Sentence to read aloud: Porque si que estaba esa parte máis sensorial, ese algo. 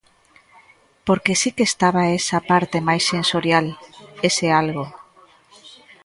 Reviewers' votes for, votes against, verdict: 2, 1, accepted